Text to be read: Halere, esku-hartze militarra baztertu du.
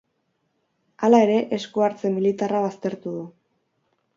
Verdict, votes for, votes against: rejected, 0, 2